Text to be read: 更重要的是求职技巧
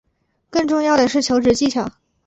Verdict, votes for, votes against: accepted, 2, 0